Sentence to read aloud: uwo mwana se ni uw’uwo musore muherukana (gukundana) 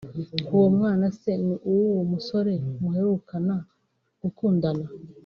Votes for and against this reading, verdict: 2, 1, accepted